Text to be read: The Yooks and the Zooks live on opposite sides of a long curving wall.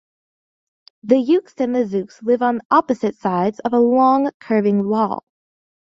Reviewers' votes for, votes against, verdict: 2, 0, accepted